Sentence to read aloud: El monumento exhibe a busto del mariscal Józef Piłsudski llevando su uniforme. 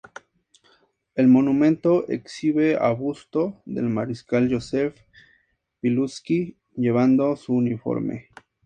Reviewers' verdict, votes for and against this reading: accepted, 2, 0